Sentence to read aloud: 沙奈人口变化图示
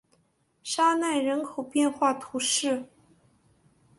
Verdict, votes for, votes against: accepted, 3, 0